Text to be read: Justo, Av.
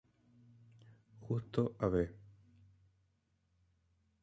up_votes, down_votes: 2, 1